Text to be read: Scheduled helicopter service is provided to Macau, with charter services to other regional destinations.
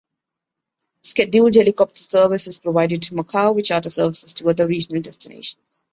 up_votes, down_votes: 2, 0